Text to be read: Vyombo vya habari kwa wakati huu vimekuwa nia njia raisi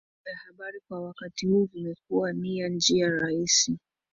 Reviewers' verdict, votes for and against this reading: rejected, 1, 2